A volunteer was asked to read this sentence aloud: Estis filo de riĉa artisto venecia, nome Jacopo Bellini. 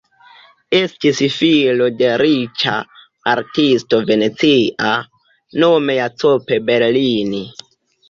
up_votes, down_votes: 0, 2